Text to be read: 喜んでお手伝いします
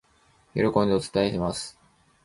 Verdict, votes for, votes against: rejected, 0, 2